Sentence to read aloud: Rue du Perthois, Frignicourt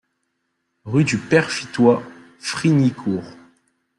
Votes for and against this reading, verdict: 0, 2, rejected